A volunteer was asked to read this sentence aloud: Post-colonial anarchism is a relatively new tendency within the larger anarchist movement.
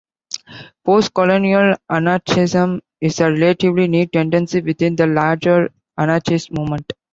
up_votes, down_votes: 2, 0